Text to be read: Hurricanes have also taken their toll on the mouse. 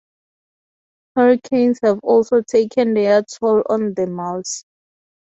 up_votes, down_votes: 0, 2